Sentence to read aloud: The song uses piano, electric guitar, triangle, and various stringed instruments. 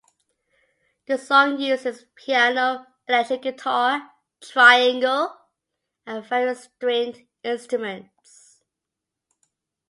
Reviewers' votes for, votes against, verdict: 2, 0, accepted